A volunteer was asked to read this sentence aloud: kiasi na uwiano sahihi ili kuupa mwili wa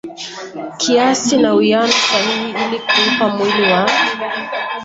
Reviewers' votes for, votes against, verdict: 0, 2, rejected